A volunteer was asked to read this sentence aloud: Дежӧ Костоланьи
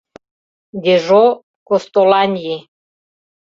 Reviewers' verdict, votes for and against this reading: rejected, 0, 2